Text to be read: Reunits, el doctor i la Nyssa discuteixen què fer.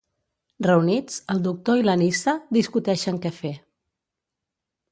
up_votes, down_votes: 2, 0